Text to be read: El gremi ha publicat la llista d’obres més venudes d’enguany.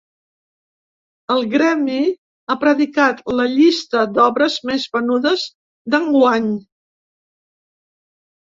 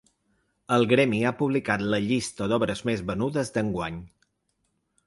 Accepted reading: second